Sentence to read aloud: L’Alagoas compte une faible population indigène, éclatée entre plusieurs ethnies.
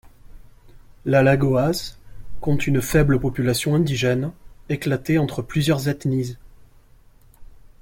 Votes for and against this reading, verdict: 0, 2, rejected